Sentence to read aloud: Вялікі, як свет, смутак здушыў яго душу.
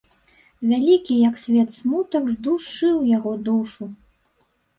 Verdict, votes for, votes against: accepted, 2, 0